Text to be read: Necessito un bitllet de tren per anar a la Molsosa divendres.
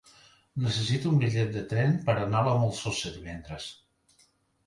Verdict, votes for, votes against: accepted, 2, 0